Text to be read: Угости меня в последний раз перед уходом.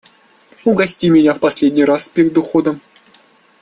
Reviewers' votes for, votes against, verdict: 2, 0, accepted